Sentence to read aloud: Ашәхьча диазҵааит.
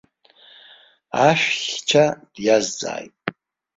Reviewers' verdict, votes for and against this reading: rejected, 2, 3